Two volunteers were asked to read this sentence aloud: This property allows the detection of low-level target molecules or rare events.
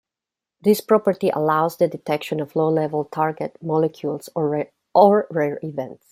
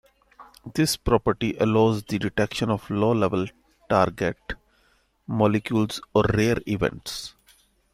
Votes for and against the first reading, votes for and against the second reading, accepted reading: 0, 2, 2, 0, second